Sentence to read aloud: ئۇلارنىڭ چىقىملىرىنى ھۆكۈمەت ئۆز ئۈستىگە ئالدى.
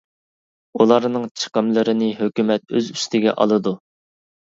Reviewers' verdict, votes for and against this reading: rejected, 1, 2